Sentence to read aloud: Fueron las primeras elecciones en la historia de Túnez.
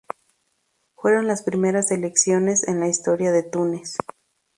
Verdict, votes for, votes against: accepted, 2, 0